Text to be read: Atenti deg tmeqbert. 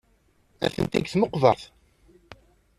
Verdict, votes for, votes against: rejected, 1, 2